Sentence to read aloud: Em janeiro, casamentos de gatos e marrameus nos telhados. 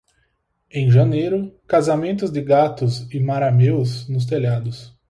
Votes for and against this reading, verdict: 0, 4, rejected